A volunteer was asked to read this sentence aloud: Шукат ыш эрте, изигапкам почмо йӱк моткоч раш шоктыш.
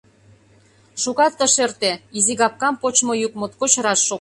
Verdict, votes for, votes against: rejected, 0, 2